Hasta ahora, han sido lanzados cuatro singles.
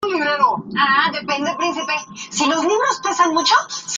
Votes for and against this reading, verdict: 0, 2, rejected